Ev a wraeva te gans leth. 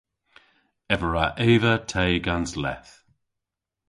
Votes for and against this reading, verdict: 1, 2, rejected